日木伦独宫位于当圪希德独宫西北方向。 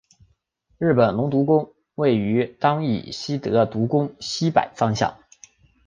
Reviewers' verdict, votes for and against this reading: accepted, 2, 0